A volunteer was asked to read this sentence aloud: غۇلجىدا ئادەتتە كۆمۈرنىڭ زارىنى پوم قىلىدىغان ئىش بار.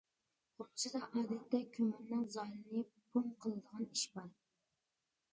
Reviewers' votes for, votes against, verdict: 0, 2, rejected